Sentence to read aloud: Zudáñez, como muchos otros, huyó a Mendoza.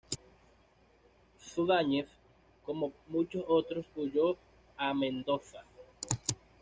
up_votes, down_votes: 2, 0